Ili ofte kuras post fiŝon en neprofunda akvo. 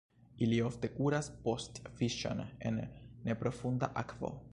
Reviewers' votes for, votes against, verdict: 0, 2, rejected